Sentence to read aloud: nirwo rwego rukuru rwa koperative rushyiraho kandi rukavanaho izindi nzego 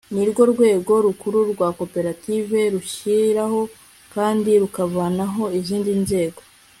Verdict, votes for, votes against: accepted, 2, 0